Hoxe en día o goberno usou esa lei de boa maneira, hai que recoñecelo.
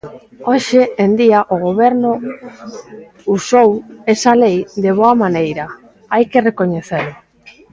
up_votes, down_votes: 1, 2